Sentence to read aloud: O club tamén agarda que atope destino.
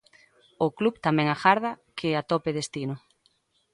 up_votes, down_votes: 2, 0